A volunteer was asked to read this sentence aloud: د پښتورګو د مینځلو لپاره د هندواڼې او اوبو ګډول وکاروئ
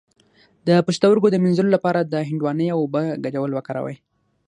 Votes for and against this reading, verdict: 0, 6, rejected